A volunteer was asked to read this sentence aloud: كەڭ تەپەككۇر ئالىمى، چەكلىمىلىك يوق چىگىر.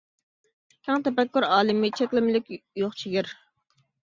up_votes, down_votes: 1, 2